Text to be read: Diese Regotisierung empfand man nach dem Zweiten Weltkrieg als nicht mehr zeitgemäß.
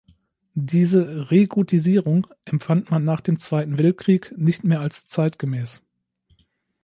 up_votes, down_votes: 1, 2